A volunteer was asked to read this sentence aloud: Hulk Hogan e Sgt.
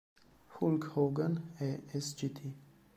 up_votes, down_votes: 2, 1